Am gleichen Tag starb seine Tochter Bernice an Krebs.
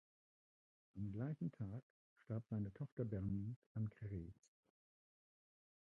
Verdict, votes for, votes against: rejected, 0, 2